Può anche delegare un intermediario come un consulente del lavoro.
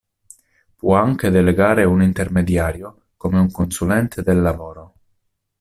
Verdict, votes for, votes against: accepted, 3, 1